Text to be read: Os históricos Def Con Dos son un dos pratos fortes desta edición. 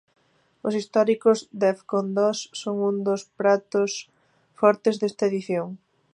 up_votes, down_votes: 2, 0